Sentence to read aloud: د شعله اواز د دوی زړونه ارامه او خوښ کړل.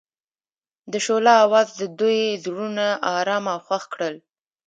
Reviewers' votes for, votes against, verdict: 2, 0, accepted